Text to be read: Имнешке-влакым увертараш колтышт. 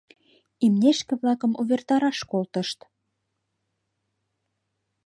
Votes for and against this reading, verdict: 2, 0, accepted